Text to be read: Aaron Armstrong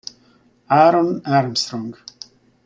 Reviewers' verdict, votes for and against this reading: accepted, 2, 0